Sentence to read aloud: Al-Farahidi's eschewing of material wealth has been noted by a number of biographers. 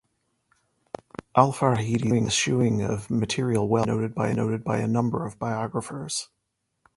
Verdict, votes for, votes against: rejected, 0, 2